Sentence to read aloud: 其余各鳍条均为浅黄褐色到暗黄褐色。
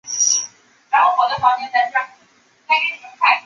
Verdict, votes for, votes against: rejected, 0, 2